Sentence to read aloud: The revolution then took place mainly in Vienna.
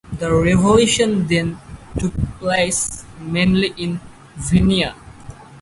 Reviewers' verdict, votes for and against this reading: rejected, 0, 4